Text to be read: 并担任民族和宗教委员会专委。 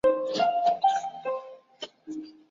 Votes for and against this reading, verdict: 0, 5, rejected